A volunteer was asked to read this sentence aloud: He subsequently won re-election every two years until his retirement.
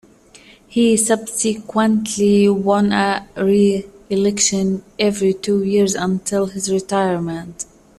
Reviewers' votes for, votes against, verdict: 1, 2, rejected